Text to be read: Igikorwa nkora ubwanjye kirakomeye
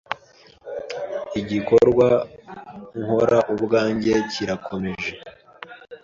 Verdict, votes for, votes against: rejected, 0, 2